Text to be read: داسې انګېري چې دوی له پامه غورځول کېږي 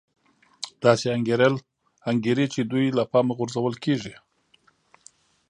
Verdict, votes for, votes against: rejected, 0, 2